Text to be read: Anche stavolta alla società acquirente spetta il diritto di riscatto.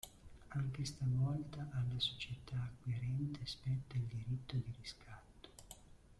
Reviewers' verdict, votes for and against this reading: rejected, 0, 2